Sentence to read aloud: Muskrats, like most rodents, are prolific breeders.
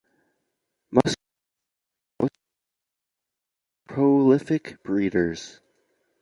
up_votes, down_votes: 0, 2